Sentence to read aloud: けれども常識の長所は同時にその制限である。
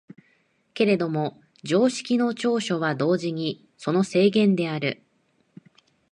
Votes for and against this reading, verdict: 1, 2, rejected